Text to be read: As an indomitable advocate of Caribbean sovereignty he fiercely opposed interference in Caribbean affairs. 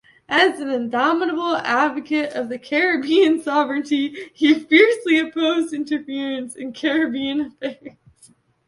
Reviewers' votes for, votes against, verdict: 1, 2, rejected